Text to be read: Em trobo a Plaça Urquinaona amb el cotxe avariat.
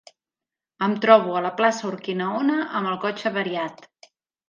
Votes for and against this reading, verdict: 0, 2, rejected